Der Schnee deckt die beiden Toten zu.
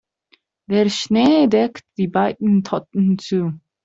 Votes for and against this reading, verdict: 0, 2, rejected